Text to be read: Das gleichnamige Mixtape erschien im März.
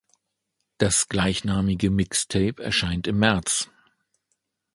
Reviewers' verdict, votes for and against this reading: rejected, 1, 2